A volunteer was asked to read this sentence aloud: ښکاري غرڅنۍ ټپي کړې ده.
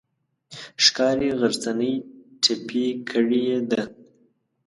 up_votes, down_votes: 2, 0